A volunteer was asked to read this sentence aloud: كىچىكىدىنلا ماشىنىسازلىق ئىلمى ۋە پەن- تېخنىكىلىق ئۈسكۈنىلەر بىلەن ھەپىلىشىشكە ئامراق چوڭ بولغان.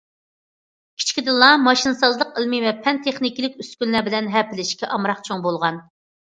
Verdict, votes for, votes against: accepted, 2, 0